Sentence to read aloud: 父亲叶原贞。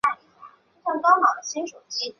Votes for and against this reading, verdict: 1, 2, rejected